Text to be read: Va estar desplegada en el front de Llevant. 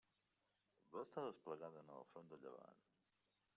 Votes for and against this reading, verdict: 0, 2, rejected